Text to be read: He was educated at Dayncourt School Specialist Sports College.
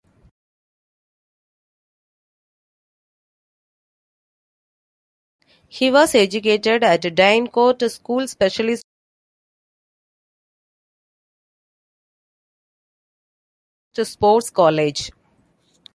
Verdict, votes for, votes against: rejected, 0, 2